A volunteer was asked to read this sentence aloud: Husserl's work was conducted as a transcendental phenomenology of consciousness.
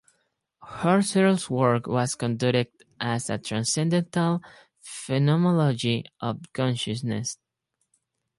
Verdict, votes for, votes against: rejected, 0, 4